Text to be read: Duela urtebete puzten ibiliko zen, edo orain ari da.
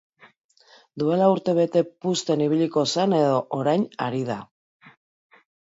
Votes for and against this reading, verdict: 0, 2, rejected